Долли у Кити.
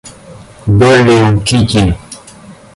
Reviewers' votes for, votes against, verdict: 0, 2, rejected